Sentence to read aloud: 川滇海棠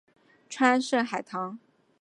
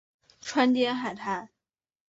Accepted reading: first